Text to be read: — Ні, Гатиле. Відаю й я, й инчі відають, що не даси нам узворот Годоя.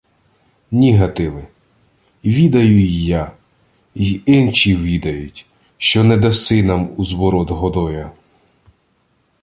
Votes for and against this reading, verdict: 2, 0, accepted